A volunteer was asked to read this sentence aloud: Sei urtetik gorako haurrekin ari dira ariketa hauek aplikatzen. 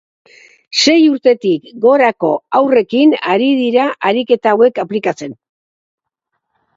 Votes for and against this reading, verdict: 6, 0, accepted